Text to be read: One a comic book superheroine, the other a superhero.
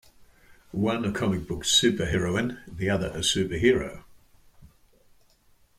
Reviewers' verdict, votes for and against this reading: accepted, 2, 0